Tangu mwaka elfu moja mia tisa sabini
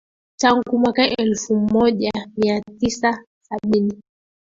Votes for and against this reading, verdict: 0, 3, rejected